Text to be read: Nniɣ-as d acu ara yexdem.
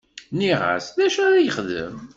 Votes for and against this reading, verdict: 2, 1, accepted